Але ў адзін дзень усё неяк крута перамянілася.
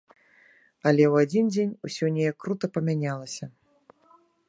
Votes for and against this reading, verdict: 0, 2, rejected